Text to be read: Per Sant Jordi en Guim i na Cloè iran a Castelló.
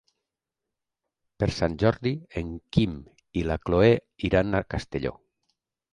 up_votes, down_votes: 0, 3